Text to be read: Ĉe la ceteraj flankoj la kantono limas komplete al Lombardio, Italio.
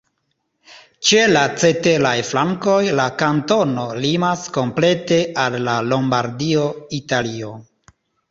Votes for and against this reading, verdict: 2, 0, accepted